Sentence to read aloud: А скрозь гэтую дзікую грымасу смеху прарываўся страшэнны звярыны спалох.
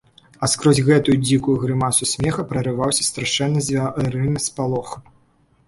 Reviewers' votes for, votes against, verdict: 0, 2, rejected